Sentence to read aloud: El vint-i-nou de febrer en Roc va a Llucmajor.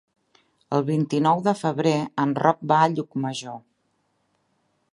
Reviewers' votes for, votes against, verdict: 3, 0, accepted